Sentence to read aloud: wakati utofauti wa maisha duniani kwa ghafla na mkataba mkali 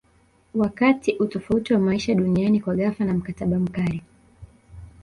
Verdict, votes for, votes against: rejected, 0, 2